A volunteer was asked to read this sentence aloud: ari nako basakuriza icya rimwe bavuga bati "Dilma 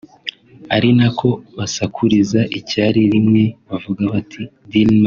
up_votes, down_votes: 2, 0